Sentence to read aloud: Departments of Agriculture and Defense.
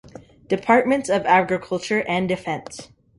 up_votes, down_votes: 3, 0